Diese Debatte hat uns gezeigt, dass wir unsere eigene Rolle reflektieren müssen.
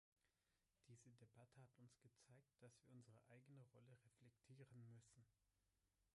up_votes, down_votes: 1, 3